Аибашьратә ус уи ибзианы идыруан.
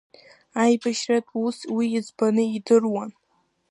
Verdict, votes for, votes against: rejected, 0, 2